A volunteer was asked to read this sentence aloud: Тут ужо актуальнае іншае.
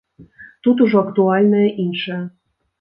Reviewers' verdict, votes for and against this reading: accepted, 2, 0